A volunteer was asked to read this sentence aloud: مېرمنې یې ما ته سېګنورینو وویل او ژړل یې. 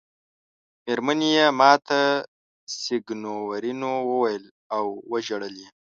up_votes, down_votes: 3, 0